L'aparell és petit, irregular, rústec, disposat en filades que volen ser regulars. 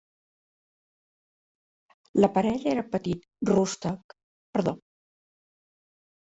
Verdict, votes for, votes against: rejected, 0, 2